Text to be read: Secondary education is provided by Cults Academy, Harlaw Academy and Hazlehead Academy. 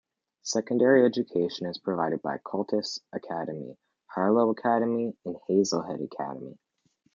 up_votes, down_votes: 0, 2